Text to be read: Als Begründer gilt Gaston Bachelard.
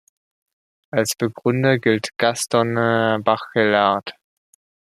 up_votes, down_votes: 1, 2